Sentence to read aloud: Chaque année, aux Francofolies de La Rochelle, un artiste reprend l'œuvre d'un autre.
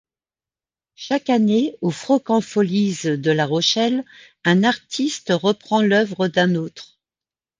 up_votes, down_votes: 1, 2